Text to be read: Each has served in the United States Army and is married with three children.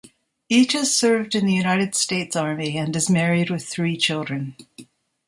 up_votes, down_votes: 2, 0